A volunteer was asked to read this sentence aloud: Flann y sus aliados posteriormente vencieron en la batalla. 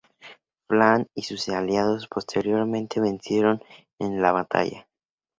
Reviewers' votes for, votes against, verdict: 2, 0, accepted